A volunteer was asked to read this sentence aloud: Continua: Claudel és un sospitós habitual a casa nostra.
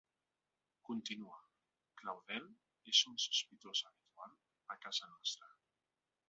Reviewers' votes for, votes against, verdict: 2, 0, accepted